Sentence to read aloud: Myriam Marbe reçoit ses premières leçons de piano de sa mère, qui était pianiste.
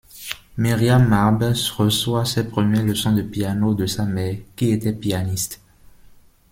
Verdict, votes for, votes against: rejected, 1, 2